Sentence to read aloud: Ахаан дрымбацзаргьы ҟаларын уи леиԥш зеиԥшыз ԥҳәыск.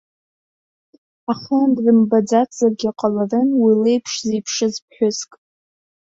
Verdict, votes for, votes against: rejected, 0, 2